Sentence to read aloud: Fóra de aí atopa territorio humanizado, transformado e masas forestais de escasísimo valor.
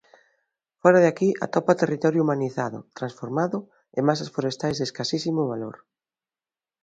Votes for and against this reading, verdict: 0, 2, rejected